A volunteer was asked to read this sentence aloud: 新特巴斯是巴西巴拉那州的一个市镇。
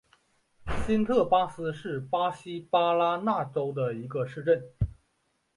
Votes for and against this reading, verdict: 2, 0, accepted